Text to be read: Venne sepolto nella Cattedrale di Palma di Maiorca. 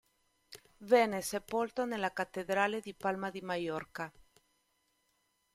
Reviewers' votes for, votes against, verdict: 2, 0, accepted